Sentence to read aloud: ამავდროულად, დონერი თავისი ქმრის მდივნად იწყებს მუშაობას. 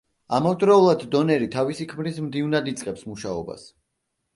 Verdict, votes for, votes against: accepted, 2, 0